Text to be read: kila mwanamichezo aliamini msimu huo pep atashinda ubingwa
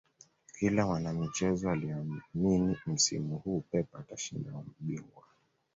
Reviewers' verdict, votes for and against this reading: rejected, 0, 2